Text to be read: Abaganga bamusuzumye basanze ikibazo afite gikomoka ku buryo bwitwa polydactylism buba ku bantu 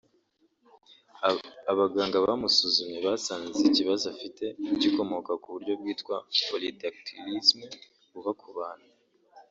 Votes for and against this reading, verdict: 1, 2, rejected